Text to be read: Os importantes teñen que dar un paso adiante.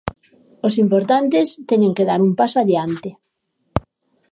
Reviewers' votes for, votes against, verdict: 2, 0, accepted